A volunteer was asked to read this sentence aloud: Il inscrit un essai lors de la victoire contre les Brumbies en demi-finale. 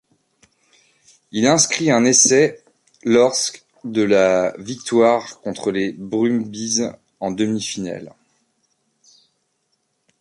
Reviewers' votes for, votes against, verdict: 0, 2, rejected